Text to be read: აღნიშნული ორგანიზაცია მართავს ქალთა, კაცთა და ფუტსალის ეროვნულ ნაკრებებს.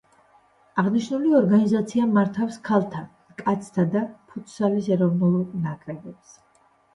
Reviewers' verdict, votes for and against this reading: accepted, 2, 0